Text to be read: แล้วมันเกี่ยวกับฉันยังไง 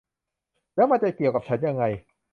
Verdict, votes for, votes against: rejected, 0, 2